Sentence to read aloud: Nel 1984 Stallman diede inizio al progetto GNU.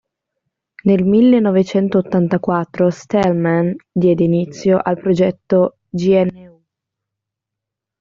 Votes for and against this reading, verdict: 0, 2, rejected